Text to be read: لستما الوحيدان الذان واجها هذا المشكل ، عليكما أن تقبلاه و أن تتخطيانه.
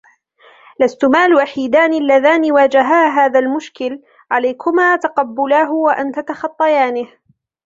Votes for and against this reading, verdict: 0, 2, rejected